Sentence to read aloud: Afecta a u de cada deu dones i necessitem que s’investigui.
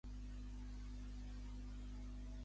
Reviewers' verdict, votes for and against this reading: rejected, 0, 2